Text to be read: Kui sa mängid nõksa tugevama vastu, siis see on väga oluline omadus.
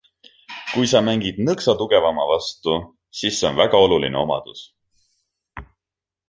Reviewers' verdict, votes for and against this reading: accepted, 2, 0